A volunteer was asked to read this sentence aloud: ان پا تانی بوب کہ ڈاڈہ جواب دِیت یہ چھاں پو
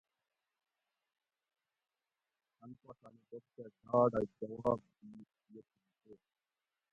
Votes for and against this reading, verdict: 0, 2, rejected